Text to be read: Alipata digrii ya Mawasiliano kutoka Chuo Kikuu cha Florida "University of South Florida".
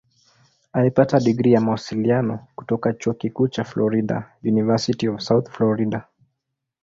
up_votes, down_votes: 2, 0